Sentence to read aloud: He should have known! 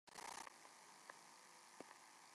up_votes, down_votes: 0, 2